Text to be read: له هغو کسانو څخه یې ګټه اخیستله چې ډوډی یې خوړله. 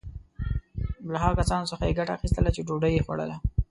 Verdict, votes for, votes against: accepted, 2, 0